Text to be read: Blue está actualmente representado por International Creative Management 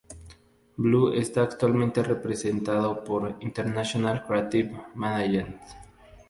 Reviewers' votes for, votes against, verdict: 4, 0, accepted